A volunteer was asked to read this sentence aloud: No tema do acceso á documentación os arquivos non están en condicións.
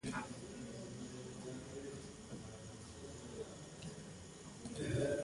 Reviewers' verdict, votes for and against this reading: rejected, 0, 2